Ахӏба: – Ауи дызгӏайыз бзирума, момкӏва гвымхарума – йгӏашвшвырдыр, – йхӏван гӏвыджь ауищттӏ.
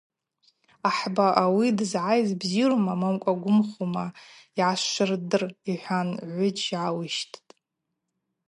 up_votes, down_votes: 2, 2